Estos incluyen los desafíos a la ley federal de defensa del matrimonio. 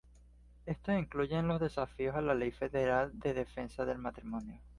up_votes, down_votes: 2, 0